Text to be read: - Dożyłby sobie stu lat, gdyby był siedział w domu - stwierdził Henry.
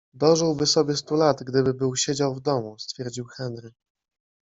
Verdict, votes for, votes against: accepted, 2, 0